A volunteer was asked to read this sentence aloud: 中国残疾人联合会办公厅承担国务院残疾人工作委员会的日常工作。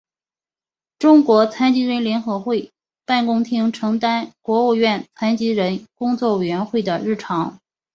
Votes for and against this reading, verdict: 4, 1, accepted